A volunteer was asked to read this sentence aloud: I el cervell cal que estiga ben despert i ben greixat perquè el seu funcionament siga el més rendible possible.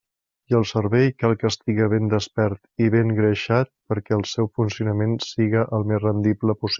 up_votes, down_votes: 1, 2